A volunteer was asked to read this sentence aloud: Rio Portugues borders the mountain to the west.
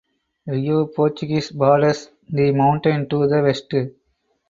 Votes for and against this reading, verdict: 2, 2, rejected